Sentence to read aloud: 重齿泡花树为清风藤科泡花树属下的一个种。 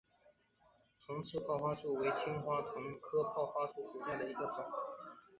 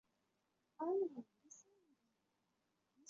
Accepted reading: first